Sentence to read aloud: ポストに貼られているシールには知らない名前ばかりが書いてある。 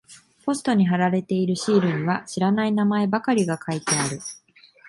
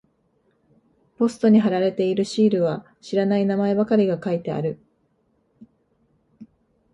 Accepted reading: first